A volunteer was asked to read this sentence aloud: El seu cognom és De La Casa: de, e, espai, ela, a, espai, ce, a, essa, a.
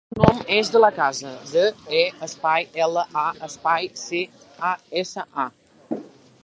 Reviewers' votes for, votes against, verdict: 0, 3, rejected